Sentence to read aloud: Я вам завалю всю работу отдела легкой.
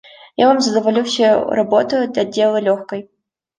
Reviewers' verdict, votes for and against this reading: rejected, 0, 2